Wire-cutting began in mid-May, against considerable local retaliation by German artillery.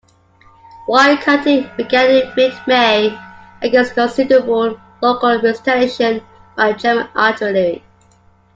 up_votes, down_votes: 2, 1